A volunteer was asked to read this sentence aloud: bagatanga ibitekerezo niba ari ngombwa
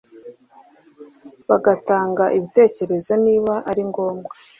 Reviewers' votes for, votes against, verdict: 2, 0, accepted